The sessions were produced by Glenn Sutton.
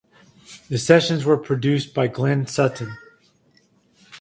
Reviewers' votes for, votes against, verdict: 4, 0, accepted